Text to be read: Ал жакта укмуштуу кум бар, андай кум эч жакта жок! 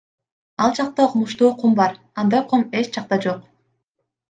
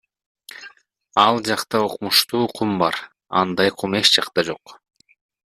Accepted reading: first